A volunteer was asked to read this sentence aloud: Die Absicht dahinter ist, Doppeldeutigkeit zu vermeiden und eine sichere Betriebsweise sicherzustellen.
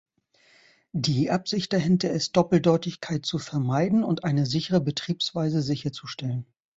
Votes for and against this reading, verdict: 2, 0, accepted